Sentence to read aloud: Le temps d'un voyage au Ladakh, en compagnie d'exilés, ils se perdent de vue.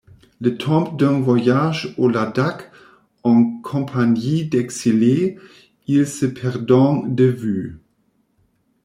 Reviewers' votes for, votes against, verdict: 0, 2, rejected